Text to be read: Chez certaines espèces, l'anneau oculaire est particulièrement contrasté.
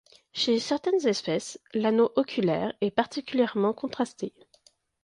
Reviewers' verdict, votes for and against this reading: accepted, 2, 0